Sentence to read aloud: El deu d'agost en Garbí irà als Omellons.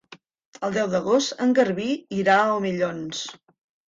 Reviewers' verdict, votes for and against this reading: rejected, 0, 2